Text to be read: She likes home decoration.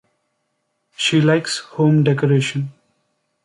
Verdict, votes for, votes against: accepted, 2, 0